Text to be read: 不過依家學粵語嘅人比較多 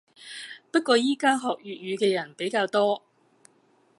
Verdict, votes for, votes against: accepted, 2, 0